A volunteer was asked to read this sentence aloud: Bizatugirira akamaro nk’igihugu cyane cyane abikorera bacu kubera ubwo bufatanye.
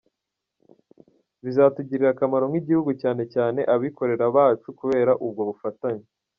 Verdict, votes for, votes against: accepted, 2, 1